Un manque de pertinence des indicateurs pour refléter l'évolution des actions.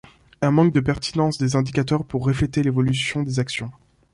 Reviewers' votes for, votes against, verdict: 0, 2, rejected